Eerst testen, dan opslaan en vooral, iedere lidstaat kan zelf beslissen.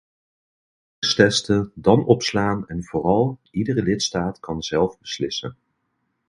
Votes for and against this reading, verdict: 0, 2, rejected